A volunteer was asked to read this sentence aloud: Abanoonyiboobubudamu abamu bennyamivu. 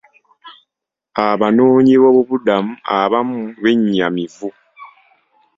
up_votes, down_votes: 2, 0